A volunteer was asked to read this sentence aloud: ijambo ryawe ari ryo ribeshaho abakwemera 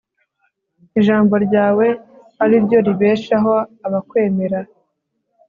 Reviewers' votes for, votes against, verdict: 2, 0, accepted